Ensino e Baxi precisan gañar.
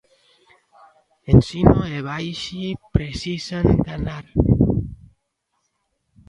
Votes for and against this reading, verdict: 0, 2, rejected